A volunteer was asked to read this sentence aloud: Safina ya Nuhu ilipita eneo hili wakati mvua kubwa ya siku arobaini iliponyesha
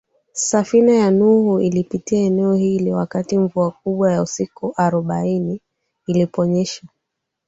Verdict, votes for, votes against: accepted, 2, 1